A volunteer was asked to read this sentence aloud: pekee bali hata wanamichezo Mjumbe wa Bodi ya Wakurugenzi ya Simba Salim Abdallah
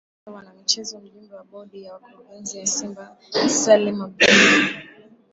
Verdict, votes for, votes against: rejected, 3, 7